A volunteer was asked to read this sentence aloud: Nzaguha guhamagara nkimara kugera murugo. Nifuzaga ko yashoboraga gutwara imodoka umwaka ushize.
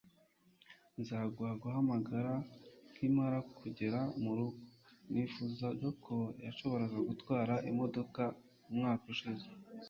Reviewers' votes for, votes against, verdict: 2, 0, accepted